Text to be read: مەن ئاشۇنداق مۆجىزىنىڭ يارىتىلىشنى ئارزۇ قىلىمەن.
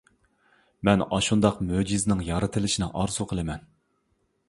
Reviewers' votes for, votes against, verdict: 2, 1, accepted